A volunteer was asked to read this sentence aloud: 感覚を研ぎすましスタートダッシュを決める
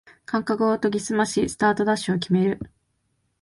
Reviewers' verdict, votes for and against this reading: accepted, 2, 0